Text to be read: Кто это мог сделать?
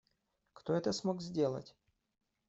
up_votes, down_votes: 1, 2